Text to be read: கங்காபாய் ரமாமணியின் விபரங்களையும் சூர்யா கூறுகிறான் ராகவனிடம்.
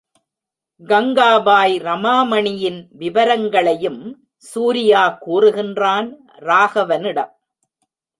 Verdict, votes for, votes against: rejected, 0, 3